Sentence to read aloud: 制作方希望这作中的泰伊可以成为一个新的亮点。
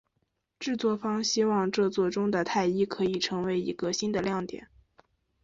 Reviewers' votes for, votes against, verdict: 2, 0, accepted